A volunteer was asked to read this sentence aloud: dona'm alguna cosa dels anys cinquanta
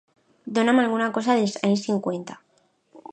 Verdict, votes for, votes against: rejected, 0, 2